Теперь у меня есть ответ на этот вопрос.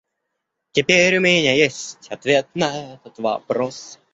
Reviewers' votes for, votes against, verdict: 1, 2, rejected